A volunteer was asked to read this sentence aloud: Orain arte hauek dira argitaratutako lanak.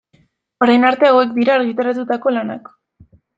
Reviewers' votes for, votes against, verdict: 2, 1, accepted